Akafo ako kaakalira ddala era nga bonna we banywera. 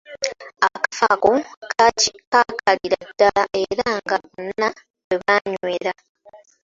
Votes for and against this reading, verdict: 0, 2, rejected